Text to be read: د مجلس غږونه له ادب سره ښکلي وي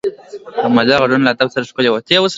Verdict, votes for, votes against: accepted, 2, 0